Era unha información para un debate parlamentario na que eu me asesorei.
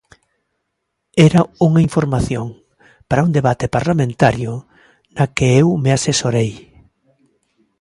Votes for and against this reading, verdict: 2, 0, accepted